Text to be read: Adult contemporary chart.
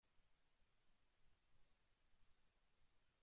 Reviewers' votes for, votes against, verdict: 0, 2, rejected